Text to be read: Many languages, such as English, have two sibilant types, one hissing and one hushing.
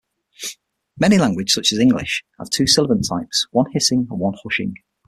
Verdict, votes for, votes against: rejected, 0, 6